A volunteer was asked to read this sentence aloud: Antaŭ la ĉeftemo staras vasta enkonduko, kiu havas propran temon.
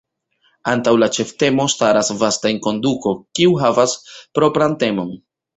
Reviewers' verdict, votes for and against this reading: accepted, 2, 0